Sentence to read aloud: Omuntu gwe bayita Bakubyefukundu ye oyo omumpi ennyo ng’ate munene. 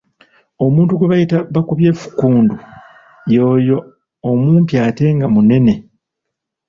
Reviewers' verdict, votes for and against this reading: rejected, 0, 2